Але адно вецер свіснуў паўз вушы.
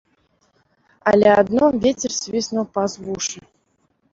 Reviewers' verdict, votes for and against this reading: rejected, 0, 2